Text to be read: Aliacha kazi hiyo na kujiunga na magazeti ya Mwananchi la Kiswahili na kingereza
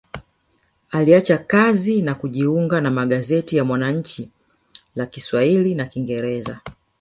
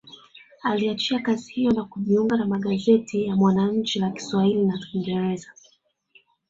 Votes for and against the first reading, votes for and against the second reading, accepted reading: 3, 4, 2, 0, second